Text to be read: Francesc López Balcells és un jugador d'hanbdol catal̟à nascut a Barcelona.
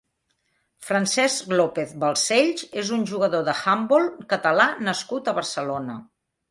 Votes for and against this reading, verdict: 0, 2, rejected